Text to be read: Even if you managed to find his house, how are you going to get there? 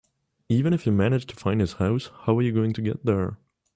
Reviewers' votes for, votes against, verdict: 2, 0, accepted